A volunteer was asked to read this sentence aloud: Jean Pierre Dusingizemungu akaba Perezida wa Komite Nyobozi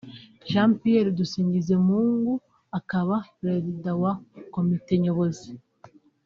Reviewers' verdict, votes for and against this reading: accepted, 3, 0